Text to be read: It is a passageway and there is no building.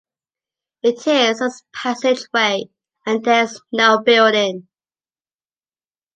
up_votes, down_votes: 1, 2